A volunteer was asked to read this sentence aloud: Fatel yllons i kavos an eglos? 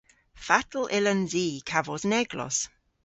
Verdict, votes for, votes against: accepted, 2, 0